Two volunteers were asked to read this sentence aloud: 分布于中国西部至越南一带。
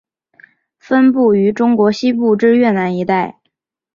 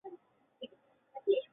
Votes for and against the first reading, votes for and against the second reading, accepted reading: 2, 1, 2, 3, first